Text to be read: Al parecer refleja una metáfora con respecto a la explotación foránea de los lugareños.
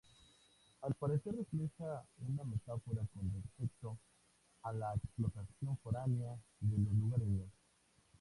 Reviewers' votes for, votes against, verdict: 0, 2, rejected